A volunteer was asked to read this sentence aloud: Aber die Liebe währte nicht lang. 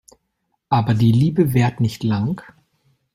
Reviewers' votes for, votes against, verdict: 0, 2, rejected